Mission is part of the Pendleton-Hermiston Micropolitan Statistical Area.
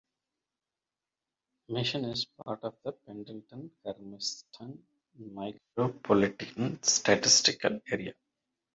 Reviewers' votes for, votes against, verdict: 0, 2, rejected